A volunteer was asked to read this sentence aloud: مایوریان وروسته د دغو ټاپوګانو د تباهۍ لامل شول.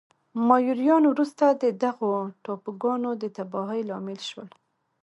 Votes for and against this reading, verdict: 0, 2, rejected